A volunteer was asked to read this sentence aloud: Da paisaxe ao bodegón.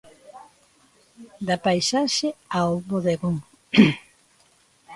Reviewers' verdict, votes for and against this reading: accepted, 2, 1